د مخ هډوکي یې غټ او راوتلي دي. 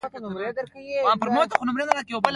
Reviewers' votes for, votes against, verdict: 0, 2, rejected